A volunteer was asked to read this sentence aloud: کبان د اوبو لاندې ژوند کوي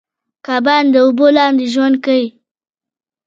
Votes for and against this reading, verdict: 1, 2, rejected